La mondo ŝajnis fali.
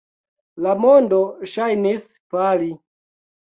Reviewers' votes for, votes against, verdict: 2, 0, accepted